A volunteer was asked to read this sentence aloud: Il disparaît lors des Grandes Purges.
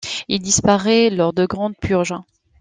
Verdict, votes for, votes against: rejected, 0, 2